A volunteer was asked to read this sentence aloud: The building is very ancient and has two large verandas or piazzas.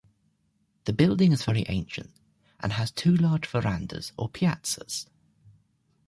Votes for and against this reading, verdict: 2, 0, accepted